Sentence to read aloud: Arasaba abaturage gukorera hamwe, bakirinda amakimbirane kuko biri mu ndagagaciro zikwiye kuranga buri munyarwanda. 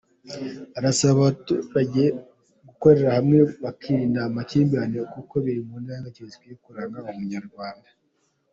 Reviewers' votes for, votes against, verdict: 2, 0, accepted